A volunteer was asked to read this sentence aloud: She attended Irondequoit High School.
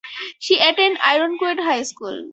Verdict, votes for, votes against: rejected, 0, 4